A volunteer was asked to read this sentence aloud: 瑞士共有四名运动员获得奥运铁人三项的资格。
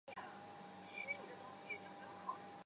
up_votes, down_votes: 1, 2